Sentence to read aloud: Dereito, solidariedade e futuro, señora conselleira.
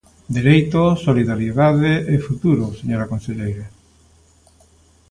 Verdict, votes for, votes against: accepted, 2, 0